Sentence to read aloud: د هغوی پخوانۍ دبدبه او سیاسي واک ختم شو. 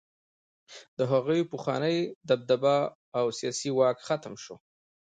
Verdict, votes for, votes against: rejected, 0, 2